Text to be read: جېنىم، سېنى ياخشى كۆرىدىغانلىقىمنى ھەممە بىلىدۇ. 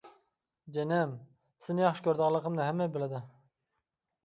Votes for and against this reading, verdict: 2, 0, accepted